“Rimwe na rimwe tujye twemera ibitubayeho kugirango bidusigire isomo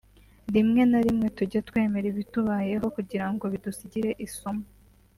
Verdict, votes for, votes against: accepted, 3, 0